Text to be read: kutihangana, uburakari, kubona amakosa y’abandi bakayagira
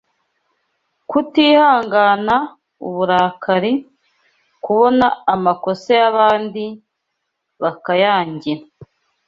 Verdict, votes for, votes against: rejected, 0, 2